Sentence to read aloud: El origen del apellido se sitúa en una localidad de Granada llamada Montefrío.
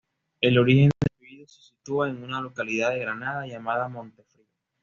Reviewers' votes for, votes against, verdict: 1, 2, rejected